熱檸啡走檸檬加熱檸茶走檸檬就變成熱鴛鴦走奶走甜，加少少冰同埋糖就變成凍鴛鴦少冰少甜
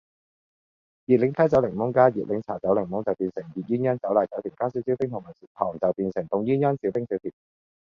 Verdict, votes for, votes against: accepted, 2, 1